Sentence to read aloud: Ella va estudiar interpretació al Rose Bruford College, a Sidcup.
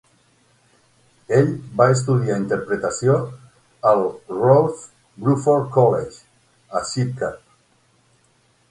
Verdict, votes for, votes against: rejected, 0, 9